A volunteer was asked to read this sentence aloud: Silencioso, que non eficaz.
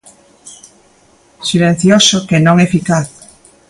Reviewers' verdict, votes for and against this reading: accepted, 2, 0